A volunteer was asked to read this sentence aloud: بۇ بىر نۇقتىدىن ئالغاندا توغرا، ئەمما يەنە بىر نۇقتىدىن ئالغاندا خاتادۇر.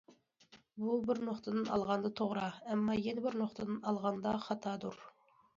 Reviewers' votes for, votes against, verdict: 2, 0, accepted